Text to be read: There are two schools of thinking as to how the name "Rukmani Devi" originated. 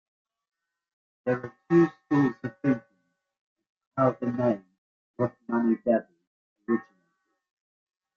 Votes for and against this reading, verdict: 1, 3, rejected